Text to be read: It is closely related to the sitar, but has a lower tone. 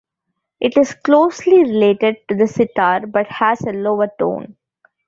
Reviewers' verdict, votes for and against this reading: accepted, 2, 0